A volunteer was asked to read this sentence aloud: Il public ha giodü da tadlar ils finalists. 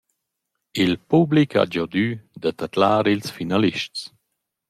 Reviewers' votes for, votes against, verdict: 2, 0, accepted